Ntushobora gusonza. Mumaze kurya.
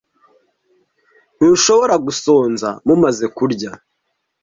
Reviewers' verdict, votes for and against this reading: rejected, 1, 2